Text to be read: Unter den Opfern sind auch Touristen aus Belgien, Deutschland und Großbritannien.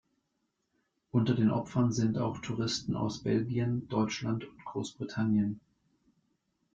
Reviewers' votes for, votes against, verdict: 2, 0, accepted